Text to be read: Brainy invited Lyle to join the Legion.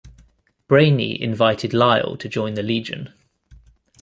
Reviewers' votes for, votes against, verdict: 2, 0, accepted